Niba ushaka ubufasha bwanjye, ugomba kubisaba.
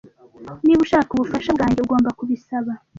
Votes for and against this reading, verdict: 2, 0, accepted